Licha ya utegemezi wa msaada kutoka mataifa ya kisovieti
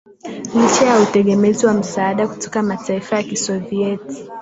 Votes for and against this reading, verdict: 2, 2, rejected